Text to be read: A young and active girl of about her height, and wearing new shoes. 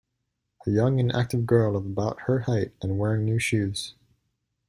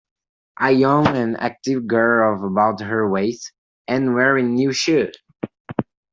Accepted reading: first